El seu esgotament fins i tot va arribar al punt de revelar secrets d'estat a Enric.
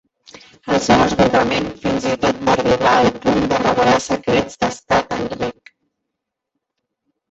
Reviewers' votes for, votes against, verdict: 0, 2, rejected